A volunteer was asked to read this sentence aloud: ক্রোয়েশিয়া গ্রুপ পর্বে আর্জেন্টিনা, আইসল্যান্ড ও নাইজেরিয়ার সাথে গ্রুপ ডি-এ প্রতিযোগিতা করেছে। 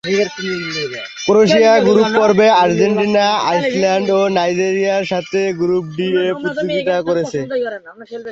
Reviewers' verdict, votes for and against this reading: rejected, 1, 2